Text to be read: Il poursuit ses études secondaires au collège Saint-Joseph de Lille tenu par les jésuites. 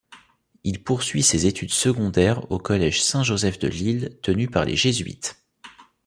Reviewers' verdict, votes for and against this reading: accepted, 2, 0